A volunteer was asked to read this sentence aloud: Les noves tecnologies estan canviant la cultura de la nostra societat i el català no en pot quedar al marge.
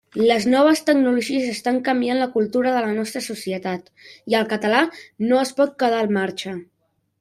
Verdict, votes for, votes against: rejected, 1, 2